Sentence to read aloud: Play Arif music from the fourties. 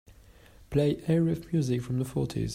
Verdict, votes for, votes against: accepted, 2, 0